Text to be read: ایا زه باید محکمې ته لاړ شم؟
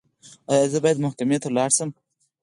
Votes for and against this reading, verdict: 2, 4, rejected